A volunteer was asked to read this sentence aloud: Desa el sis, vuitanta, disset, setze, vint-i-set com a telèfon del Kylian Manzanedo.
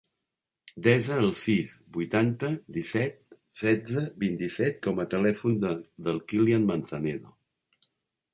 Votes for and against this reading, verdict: 1, 3, rejected